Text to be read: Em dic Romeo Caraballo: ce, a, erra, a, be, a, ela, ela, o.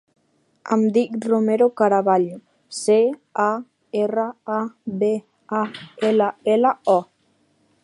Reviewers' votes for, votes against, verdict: 3, 2, accepted